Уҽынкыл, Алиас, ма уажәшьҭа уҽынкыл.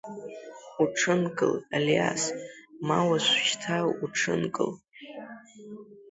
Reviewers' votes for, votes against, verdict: 0, 2, rejected